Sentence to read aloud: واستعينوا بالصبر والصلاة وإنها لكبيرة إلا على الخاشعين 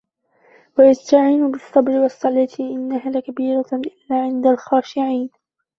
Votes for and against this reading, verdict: 1, 2, rejected